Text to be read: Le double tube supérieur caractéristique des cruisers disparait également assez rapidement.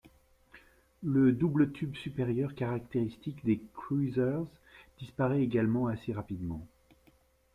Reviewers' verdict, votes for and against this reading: rejected, 1, 2